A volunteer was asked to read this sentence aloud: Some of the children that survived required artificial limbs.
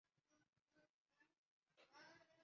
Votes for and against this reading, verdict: 0, 2, rejected